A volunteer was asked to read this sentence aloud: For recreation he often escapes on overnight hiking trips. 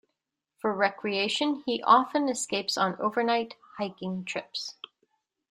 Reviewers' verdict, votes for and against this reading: accepted, 2, 0